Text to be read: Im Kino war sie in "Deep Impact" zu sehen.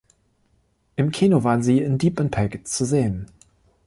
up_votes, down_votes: 0, 2